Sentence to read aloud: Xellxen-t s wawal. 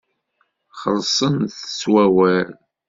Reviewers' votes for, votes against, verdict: 1, 2, rejected